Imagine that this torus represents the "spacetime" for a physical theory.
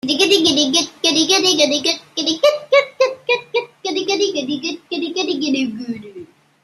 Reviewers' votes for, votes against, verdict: 0, 2, rejected